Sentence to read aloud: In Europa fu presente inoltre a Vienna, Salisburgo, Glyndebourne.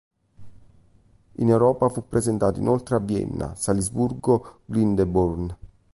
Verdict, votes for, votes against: rejected, 0, 2